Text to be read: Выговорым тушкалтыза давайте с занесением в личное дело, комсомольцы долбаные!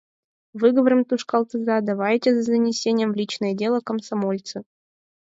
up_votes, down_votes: 4, 0